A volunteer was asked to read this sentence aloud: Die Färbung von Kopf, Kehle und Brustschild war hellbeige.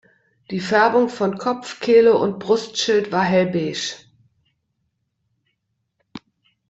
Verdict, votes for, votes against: accepted, 2, 1